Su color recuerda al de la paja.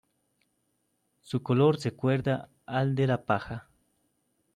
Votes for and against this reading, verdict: 0, 2, rejected